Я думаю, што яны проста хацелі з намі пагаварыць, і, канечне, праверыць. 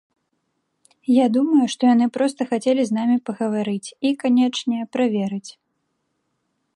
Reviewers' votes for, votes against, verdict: 2, 0, accepted